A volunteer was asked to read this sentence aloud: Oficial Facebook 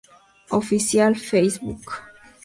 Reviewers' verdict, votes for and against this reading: accepted, 2, 0